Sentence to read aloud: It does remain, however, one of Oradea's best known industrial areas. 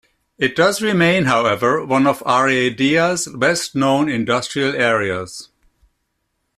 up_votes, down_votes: 1, 2